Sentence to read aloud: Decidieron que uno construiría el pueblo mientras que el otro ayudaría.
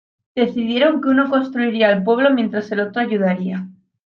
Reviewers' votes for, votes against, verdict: 0, 2, rejected